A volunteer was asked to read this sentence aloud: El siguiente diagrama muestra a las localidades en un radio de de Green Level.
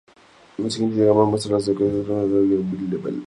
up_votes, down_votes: 0, 2